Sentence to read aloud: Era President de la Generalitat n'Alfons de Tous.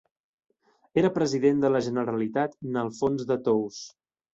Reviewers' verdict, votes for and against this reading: accepted, 2, 0